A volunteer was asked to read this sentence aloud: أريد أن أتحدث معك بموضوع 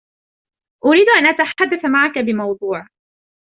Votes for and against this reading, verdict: 2, 1, accepted